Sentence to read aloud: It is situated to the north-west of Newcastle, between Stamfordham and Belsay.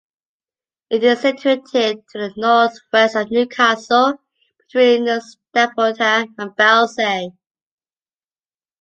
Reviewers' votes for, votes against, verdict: 1, 2, rejected